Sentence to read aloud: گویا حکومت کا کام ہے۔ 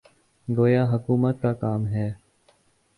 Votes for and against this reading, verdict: 2, 0, accepted